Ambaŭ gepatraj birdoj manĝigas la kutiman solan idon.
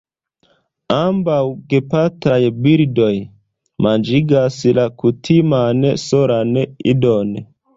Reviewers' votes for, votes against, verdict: 2, 0, accepted